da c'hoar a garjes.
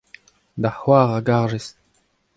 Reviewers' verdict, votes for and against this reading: accepted, 2, 0